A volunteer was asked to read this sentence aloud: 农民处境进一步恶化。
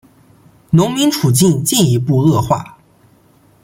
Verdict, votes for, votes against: accepted, 2, 0